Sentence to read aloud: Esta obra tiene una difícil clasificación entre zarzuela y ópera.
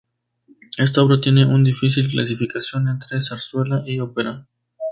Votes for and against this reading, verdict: 2, 0, accepted